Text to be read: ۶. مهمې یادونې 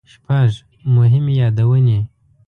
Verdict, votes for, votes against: rejected, 0, 2